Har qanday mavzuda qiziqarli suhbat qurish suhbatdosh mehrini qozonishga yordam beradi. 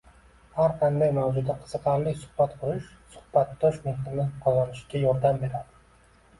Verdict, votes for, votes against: accepted, 2, 0